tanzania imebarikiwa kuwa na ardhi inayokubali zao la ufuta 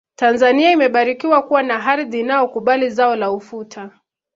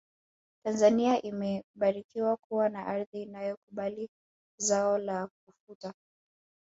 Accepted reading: first